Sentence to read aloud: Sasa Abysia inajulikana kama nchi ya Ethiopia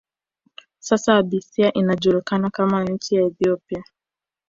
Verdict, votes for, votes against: rejected, 0, 2